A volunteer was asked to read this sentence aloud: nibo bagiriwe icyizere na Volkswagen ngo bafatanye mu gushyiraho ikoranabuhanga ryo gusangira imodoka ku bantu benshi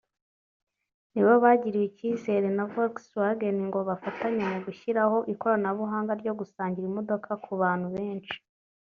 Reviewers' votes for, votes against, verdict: 2, 0, accepted